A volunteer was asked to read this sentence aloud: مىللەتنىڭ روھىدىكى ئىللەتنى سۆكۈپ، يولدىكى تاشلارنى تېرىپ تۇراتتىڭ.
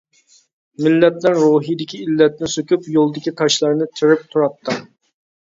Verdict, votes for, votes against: rejected, 1, 2